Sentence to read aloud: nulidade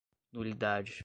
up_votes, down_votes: 2, 0